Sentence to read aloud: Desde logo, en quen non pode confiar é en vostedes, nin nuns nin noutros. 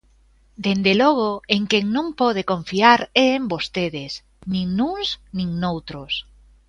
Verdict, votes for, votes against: rejected, 0, 2